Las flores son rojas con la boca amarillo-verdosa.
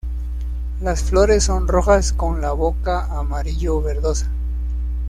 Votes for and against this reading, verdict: 2, 0, accepted